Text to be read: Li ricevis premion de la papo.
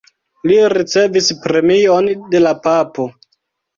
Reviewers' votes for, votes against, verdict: 2, 0, accepted